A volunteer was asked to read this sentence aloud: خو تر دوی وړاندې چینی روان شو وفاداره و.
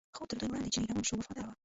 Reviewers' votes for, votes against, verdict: 0, 2, rejected